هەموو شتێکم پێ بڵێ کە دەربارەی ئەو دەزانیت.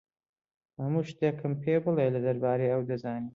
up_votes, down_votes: 2, 0